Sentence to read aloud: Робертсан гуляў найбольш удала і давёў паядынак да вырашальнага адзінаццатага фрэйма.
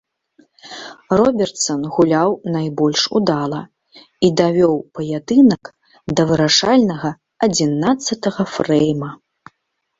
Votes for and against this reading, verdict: 2, 0, accepted